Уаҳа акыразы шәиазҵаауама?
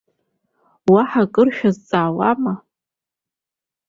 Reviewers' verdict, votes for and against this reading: rejected, 0, 2